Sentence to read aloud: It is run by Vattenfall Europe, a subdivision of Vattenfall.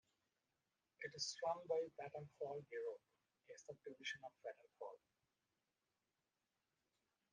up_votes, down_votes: 2, 0